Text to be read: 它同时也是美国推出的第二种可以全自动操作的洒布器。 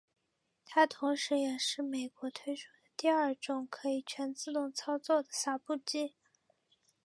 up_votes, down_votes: 2, 0